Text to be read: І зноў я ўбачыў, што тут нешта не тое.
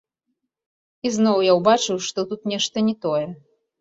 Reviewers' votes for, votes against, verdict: 1, 2, rejected